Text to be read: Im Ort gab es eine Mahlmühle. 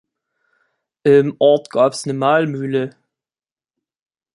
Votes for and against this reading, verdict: 1, 2, rejected